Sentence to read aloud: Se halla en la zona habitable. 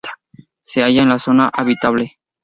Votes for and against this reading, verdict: 2, 0, accepted